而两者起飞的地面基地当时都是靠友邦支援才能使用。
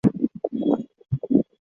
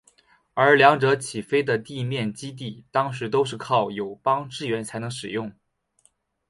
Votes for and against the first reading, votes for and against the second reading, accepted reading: 0, 2, 2, 0, second